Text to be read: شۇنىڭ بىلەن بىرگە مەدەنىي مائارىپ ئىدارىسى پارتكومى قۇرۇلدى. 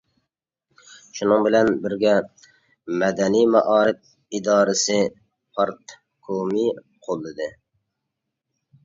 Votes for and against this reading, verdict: 0, 2, rejected